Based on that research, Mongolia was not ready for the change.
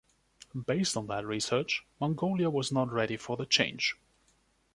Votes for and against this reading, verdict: 2, 0, accepted